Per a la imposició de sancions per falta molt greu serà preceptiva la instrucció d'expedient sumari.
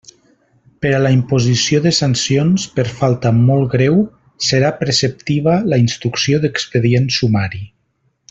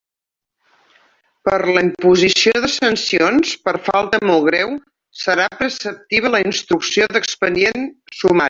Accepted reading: first